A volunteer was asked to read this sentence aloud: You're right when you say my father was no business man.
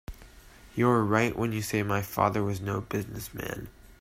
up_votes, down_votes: 3, 0